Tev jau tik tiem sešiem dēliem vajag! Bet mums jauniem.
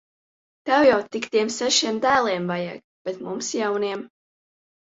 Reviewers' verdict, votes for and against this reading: accepted, 2, 0